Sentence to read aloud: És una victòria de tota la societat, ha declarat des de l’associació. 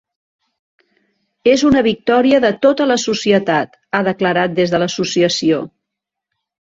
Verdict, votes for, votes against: accepted, 3, 0